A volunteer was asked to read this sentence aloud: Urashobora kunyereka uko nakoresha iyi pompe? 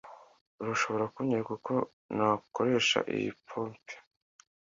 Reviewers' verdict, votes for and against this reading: accepted, 2, 0